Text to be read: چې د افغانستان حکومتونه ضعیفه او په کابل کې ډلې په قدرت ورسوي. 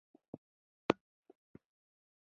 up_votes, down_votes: 1, 2